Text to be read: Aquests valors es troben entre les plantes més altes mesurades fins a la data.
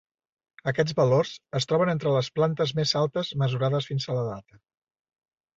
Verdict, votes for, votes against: accepted, 2, 0